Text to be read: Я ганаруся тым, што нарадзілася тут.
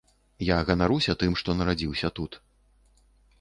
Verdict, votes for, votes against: rejected, 0, 2